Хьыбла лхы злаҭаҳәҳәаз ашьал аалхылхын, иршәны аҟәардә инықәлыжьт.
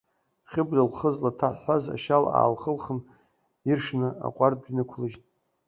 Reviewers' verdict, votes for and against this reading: rejected, 0, 2